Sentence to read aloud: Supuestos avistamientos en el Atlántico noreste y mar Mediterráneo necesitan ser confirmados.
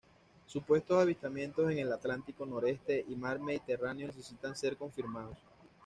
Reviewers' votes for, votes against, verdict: 2, 0, accepted